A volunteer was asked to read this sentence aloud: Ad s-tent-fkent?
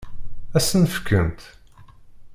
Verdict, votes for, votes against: rejected, 0, 2